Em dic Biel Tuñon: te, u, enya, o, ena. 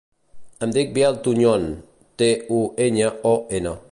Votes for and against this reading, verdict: 2, 0, accepted